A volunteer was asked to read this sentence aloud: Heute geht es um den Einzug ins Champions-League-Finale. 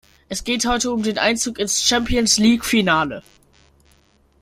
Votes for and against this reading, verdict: 0, 2, rejected